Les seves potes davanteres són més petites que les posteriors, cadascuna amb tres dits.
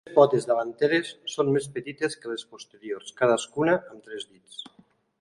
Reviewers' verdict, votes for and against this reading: rejected, 0, 2